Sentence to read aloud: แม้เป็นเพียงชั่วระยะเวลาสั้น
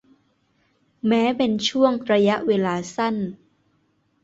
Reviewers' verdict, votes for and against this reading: rejected, 0, 2